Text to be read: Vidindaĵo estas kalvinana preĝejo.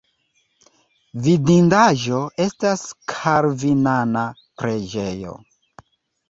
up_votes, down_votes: 2, 0